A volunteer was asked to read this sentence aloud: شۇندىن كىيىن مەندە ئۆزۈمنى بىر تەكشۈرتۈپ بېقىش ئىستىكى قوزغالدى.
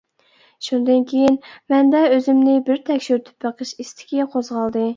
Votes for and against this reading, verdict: 2, 0, accepted